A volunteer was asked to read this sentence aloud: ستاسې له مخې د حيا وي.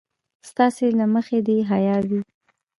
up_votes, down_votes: 2, 1